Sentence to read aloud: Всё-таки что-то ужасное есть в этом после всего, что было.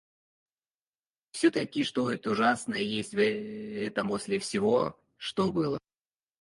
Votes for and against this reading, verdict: 0, 4, rejected